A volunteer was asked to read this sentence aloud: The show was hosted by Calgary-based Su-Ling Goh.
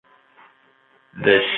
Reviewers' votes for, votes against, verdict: 0, 2, rejected